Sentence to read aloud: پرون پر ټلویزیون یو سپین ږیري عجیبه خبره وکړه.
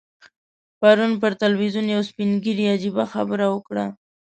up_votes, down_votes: 2, 0